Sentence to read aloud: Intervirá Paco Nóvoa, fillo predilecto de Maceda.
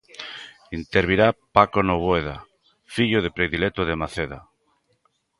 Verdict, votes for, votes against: rejected, 0, 3